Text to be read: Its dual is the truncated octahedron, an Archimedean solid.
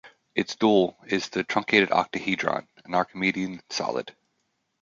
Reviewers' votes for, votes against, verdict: 2, 1, accepted